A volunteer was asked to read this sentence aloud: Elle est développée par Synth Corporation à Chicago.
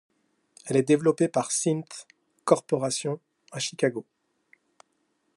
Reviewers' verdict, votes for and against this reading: rejected, 0, 2